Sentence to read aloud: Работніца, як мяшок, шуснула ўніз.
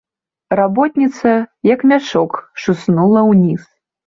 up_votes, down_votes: 3, 0